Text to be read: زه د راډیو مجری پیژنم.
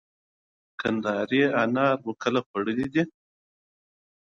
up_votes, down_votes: 0, 6